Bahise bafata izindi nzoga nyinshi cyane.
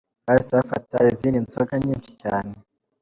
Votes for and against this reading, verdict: 2, 0, accepted